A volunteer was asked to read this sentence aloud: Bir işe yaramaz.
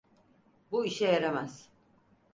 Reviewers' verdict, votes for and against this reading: rejected, 2, 4